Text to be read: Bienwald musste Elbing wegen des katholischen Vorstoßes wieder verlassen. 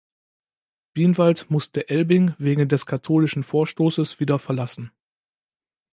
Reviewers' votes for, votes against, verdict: 2, 0, accepted